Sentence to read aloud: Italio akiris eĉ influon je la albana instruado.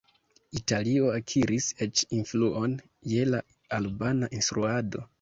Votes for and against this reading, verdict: 2, 0, accepted